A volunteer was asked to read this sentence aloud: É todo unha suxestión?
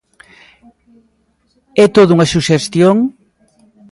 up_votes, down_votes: 2, 0